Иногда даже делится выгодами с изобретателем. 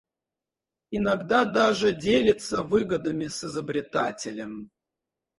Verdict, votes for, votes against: rejected, 0, 4